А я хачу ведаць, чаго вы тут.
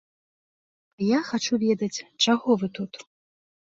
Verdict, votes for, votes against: rejected, 1, 2